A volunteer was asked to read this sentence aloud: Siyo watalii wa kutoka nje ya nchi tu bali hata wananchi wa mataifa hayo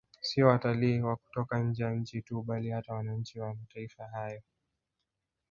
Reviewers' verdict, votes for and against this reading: rejected, 1, 2